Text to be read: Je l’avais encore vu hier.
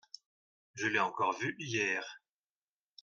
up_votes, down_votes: 0, 2